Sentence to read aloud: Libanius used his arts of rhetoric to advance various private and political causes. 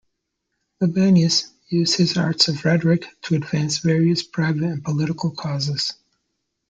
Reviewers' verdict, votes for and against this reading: rejected, 0, 2